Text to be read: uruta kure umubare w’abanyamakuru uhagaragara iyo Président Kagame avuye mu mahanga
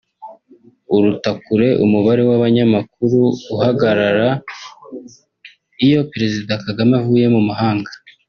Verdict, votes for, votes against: accepted, 2, 1